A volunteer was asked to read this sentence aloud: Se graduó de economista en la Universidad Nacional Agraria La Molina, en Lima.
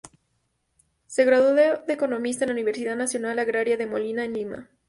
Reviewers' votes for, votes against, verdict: 0, 2, rejected